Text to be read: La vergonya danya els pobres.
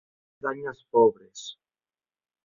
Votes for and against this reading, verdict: 0, 3, rejected